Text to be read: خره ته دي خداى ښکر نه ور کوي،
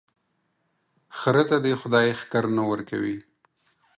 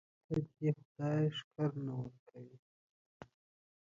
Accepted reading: first